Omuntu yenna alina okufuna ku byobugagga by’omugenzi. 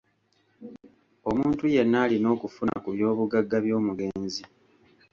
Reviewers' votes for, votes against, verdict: 2, 0, accepted